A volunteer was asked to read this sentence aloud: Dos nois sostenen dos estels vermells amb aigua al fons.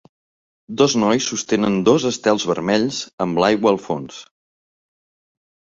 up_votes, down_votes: 0, 2